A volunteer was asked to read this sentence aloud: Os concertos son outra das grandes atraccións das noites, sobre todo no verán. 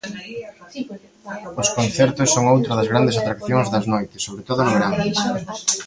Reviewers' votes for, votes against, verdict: 0, 2, rejected